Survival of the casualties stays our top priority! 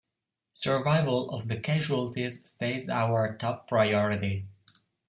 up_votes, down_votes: 2, 0